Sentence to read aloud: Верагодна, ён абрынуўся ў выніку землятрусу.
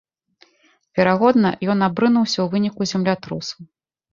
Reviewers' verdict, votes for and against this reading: accepted, 2, 0